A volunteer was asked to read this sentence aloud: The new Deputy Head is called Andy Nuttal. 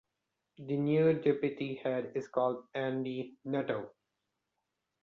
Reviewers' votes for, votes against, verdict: 2, 0, accepted